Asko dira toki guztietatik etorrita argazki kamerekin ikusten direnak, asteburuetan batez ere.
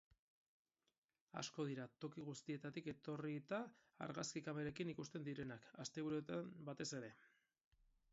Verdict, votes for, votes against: rejected, 0, 4